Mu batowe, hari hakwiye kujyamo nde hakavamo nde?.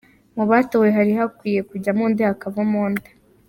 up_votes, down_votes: 2, 0